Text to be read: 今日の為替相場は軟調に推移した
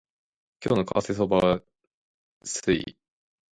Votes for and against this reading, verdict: 0, 2, rejected